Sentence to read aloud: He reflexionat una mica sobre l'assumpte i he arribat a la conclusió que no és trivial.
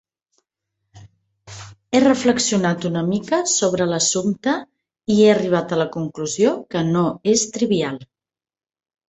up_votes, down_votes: 4, 0